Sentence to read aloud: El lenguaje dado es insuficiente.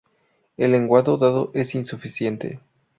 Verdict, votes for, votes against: rejected, 0, 2